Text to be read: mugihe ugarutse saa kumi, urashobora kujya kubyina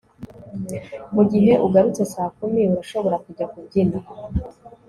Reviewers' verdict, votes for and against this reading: accepted, 2, 0